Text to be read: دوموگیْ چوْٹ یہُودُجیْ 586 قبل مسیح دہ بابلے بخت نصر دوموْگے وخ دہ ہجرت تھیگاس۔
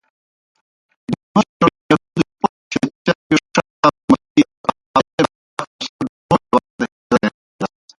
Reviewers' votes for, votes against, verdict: 0, 2, rejected